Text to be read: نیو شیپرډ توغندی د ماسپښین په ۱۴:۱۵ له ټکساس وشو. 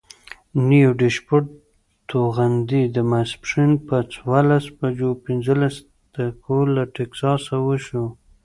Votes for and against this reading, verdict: 0, 2, rejected